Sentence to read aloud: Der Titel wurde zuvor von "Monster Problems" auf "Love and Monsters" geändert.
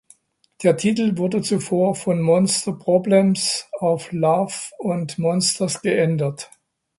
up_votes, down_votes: 1, 2